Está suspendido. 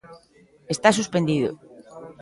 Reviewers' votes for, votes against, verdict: 1, 2, rejected